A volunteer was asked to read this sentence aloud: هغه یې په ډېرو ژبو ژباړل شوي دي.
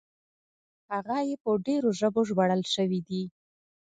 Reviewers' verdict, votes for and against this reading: accepted, 2, 0